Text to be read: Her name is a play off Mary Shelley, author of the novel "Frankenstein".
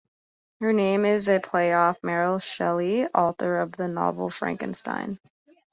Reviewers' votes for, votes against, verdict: 2, 0, accepted